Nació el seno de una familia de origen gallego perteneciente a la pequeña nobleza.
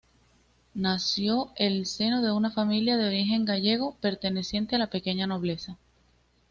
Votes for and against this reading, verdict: 2, 0, accepted